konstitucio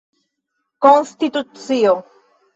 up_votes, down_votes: 2, 1